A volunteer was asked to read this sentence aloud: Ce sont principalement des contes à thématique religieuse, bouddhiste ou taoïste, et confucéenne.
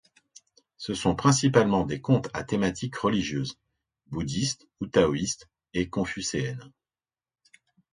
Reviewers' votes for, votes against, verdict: 2, 0, accepted